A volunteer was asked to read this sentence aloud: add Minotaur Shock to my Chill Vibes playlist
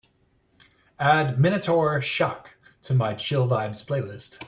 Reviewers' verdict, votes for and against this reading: accepted, 2, 0